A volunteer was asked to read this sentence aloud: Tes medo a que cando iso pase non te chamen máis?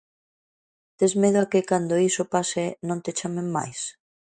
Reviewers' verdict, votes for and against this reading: accepted, 2, 0